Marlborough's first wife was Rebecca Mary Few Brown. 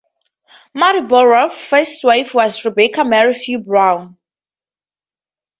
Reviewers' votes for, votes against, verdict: 2, 0, accepted